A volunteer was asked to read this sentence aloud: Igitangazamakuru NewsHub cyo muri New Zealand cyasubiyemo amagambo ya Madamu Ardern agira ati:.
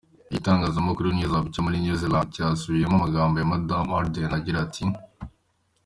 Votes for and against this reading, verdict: 2, 1, accepted